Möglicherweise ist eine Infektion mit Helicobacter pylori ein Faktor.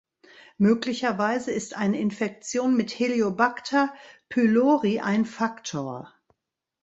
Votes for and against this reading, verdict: 1, 2, rejected